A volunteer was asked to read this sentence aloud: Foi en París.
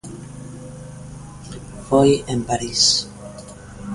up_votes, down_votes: 2, 0